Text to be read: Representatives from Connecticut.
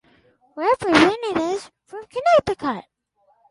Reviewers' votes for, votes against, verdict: 2, 0, accepted